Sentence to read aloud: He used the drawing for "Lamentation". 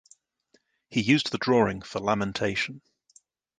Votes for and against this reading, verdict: 2, 1, accepted